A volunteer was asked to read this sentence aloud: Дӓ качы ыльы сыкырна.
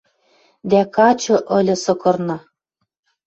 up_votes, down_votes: 2, 0